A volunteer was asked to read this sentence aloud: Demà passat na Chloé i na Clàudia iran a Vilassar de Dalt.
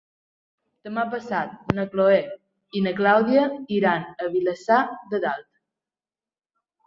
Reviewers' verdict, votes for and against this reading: accepted, 2, 1